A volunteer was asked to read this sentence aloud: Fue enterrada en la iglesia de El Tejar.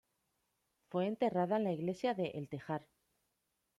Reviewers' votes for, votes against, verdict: 2, 1, accepted